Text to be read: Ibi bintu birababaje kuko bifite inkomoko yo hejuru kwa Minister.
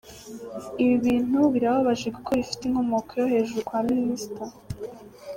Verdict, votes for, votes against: accepted, 2, 0